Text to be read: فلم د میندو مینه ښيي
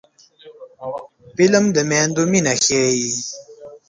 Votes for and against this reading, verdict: 2, 1, accepted